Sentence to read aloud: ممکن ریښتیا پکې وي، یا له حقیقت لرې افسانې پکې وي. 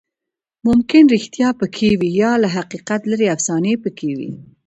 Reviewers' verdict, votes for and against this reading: accepted, 2, 1